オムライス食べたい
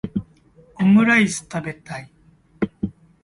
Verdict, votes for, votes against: accepted, 2, 0